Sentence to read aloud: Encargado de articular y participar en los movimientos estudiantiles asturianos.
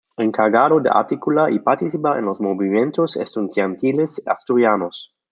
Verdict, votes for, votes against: rejected, 1, 2